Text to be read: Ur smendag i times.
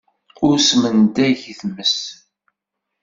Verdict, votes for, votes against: accepted, 2, 1